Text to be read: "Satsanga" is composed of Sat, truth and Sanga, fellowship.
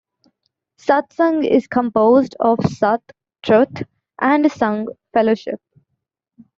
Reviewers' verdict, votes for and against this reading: accepted, 2, 0